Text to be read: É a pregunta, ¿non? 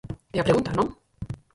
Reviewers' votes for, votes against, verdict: 0, 4, rejected